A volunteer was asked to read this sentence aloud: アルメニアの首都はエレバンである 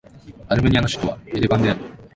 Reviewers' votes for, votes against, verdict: 3, 0, accepted